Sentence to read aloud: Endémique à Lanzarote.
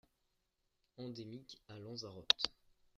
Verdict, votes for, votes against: accepted, 2, 1